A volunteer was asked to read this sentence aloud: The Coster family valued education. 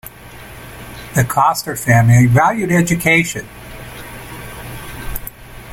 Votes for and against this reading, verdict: 2, 0, accepted